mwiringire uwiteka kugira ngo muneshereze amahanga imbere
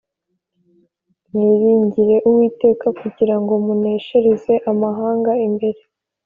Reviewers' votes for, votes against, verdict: 3, 0, accepted